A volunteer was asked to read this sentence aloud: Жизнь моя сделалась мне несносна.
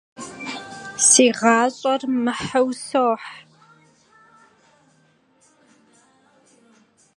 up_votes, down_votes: 0, 2